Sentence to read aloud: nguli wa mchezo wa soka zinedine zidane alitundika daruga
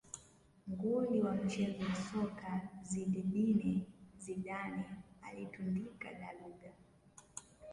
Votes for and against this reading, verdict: 1, 2, rejected